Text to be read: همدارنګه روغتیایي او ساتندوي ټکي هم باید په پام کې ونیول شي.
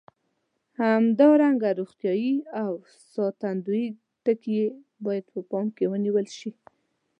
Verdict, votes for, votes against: rejected, 1, 2